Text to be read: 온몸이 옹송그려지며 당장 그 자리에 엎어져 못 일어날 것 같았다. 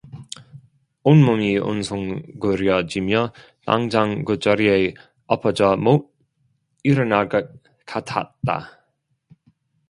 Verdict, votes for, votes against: rejected, 1, 2